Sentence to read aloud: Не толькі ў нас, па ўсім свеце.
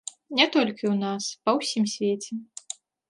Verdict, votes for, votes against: accepted, 2, 0